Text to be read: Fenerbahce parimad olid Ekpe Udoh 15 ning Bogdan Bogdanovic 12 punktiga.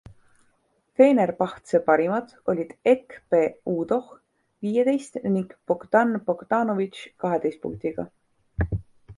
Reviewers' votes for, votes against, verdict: 0, 2, rejected